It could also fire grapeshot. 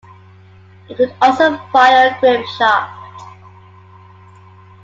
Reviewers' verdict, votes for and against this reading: accepted, 2, 0